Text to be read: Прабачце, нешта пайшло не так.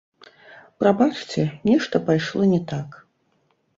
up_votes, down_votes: 0, 2